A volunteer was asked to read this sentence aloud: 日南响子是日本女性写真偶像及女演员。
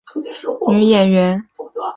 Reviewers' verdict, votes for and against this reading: rejected, 1, 3